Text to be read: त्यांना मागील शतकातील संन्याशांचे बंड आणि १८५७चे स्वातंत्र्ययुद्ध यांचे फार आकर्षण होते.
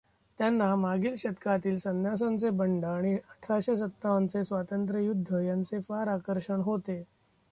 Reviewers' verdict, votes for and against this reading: rejected, 0, 2